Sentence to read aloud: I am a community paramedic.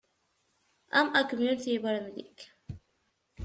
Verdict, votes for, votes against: rejected, 0, 2